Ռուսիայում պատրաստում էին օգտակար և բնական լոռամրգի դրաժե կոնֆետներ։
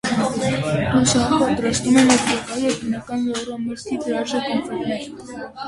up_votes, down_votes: 0, 2